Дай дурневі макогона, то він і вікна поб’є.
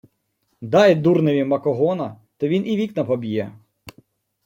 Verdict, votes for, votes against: accepted, 2, 0